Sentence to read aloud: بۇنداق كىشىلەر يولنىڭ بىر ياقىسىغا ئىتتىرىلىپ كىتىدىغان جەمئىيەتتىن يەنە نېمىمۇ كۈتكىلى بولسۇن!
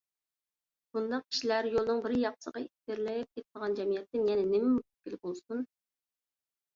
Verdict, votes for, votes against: rejected, 0, 2